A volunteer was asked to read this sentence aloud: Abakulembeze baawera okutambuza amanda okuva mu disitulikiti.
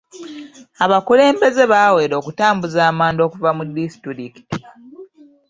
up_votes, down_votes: 2, 0